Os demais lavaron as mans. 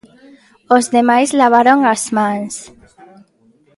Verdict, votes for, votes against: accepted, 2, 0